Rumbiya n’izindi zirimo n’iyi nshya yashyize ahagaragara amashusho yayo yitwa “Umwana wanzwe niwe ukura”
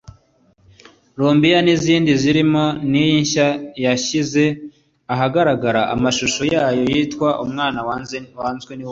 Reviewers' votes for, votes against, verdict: 1, 2, rejected